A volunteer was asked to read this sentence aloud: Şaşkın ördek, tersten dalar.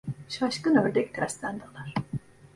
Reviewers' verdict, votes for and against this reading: accepted, 2, 1